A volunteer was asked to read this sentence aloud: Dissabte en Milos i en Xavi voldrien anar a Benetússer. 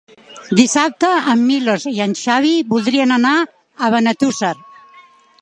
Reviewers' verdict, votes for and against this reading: accepted, 3, 0